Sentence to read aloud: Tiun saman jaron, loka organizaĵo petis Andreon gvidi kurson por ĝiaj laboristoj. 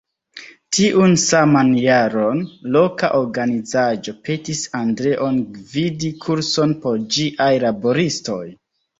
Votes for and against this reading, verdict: 1, 2, rejected